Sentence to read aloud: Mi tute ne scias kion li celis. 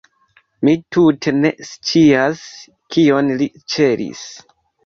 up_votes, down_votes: 0, 2